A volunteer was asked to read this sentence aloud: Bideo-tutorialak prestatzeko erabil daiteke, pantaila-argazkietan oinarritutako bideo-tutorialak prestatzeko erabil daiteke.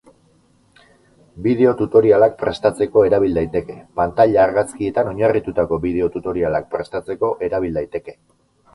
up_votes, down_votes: 2, 2